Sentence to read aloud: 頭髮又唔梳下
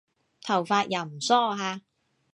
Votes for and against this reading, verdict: 2, 0, accepted